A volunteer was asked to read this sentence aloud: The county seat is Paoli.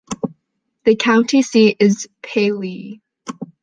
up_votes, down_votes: 0, 2